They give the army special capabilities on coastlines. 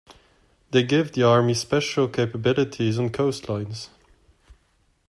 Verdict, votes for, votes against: accepted, 2, 0